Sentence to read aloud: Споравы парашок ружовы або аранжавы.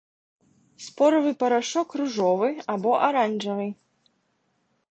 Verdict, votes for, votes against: accepted, 2, 0